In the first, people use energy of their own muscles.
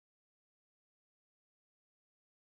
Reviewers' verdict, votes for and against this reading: rejected, 0, 2